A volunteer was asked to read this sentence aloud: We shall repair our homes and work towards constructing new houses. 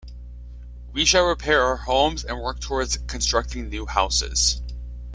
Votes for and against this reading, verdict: 2, 0, accepted